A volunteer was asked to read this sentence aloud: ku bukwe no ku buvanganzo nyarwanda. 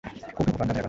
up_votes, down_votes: 0, 2